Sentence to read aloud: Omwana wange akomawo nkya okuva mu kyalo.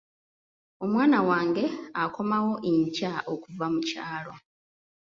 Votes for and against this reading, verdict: 1, 2, rejected